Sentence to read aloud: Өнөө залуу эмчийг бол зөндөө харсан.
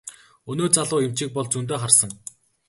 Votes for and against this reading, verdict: 0, 2, rejected